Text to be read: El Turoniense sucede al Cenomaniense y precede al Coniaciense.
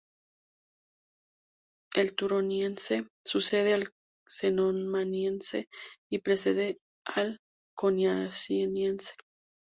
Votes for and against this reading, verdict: 0, 2, rejected